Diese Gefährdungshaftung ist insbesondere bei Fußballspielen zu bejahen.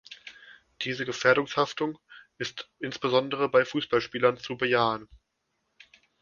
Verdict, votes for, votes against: rejected, 0, 2